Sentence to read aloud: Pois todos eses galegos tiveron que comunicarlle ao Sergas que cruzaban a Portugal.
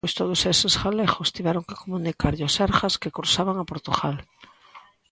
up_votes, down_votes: 2, 0